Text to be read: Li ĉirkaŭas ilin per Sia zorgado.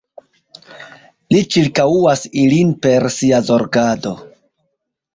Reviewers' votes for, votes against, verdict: 0, 2, rejected